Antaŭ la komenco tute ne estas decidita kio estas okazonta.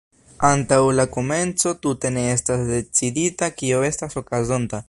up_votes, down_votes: 2, 0